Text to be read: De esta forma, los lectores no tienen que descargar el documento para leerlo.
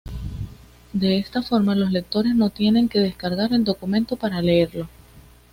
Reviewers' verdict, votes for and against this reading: accepted, 2, 0